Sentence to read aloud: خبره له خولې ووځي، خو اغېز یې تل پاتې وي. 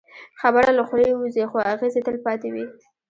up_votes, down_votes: 0, 2